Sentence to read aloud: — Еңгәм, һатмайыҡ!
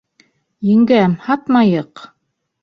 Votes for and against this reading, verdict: 2, 0, accepted